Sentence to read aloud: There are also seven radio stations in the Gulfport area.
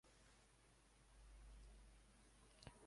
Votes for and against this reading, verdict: 0, 2, rejected